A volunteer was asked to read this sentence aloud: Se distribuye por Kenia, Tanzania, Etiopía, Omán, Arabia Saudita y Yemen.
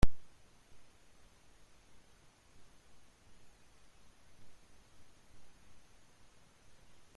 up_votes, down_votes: 0, 2